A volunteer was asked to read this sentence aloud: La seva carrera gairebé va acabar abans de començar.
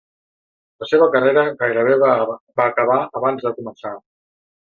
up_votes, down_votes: 0, 2